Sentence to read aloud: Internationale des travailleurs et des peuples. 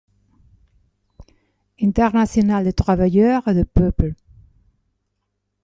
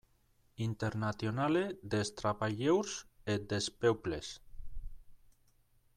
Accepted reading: first